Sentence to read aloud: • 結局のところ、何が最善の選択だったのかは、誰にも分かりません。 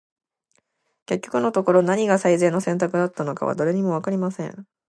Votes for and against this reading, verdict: 2, 0, accepted